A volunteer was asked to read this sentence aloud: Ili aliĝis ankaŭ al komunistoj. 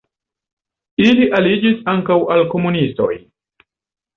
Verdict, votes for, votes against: accepted, 2, 0